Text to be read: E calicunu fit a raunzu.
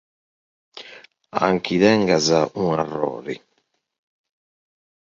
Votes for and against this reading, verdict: 0, 2, rejected